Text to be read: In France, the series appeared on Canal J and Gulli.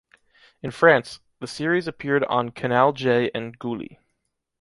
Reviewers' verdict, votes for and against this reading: accepted, 2, 0